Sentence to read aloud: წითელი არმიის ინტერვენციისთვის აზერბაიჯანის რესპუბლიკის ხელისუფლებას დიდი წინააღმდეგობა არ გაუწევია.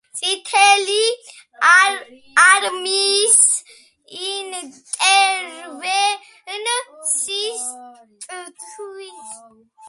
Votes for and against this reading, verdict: 1, 2, rejected